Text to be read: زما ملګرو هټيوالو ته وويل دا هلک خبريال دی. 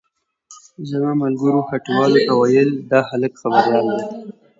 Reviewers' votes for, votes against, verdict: 2, 0, accepted